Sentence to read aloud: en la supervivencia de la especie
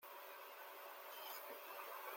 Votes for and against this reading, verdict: 0, 2, rejected